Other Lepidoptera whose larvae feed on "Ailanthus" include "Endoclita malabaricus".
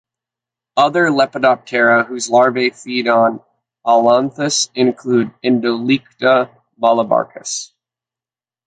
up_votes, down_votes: 0, 2